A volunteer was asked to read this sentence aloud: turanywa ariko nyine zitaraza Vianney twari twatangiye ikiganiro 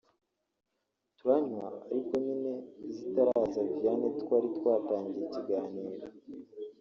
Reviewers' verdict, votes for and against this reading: rejected, 1, 2